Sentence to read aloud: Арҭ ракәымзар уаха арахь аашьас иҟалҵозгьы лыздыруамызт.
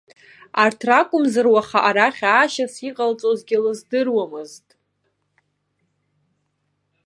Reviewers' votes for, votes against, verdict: 1, 2, rejected